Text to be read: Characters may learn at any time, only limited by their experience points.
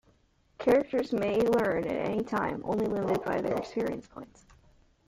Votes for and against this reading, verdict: 0, 2, rejected